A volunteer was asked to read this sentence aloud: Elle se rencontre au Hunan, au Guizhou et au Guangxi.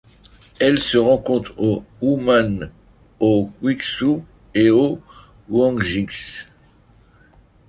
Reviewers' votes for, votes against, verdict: 0, 2, rejected